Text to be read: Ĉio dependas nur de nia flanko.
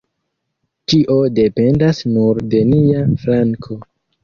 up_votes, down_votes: 1, 2